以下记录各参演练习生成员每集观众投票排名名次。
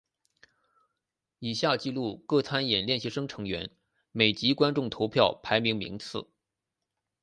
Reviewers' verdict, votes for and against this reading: accepted, 2, 0